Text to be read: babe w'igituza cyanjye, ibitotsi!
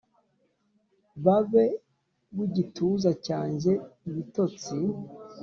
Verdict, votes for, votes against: accepted, 2, 0